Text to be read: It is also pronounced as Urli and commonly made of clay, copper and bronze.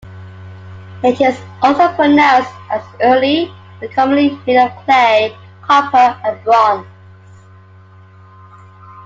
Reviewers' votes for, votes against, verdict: 2, 0, accepted